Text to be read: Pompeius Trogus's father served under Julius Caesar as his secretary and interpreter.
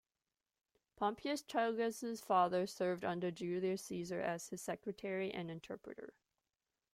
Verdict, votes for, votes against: accepted, 2, 0